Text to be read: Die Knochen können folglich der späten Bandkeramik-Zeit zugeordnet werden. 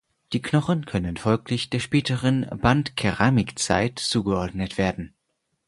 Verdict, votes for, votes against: accepted, 4, 2